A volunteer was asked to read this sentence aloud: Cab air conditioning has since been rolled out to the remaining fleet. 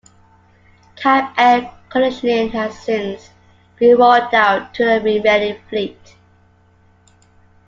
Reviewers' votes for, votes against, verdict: 2, 1, accepted